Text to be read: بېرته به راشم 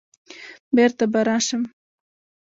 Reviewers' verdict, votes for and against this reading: rejected, 1, 2